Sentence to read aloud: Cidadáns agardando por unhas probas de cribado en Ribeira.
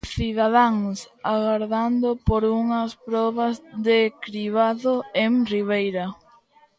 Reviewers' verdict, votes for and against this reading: rejected, 1, 2